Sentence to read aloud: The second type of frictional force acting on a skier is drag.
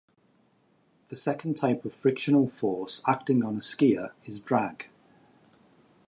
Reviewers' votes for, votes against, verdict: 2, 0, accepted